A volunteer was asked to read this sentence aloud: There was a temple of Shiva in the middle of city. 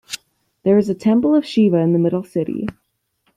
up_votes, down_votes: 1, 2